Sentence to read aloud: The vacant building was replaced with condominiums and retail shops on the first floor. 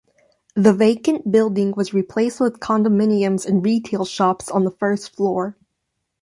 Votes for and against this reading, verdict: 2, 0, accepted